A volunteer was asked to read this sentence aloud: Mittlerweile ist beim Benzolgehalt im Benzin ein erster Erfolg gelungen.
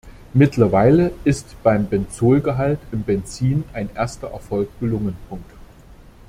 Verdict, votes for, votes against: accepted, 2, 1